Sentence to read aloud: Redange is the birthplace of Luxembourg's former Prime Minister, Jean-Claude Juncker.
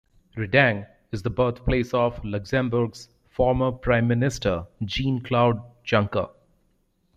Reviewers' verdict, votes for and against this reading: rejected, 1, 2